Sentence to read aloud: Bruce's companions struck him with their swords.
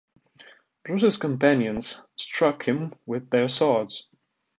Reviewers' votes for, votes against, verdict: 2, 0, accepted